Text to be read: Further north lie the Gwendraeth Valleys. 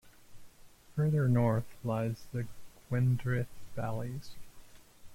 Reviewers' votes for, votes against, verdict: 0, 2, rejected